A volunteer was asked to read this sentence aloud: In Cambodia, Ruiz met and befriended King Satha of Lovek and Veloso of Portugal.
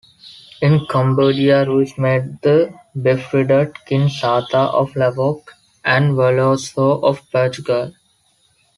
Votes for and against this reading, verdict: 0, 3, rejected